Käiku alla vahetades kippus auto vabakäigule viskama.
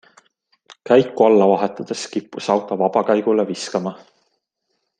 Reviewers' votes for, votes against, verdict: 2, 0, accepted